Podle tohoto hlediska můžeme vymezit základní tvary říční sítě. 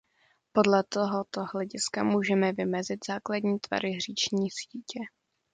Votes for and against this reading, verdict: 2, 0, accepted